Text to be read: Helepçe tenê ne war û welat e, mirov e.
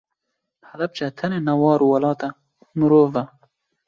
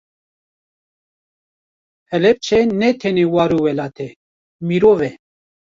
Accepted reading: first